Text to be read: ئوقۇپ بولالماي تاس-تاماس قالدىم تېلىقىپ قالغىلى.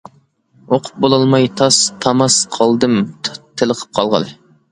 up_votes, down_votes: 2, 1